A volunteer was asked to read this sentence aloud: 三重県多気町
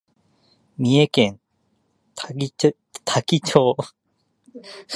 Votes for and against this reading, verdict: 2, 1, accepted